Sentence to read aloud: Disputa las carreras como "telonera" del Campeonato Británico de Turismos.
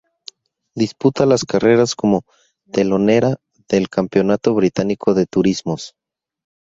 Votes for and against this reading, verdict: 0, 2, rejected